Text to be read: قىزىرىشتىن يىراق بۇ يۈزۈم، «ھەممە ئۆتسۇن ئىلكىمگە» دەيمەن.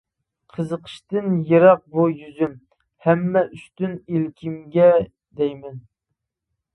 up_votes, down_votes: 0, 2